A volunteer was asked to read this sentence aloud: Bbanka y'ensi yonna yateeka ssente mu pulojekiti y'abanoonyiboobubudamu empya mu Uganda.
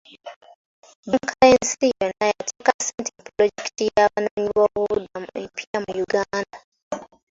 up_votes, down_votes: 2, 3